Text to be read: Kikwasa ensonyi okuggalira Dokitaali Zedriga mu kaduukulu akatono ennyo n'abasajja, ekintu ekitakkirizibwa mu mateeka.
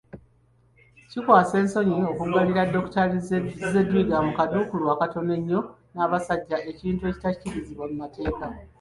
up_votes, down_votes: 1, 2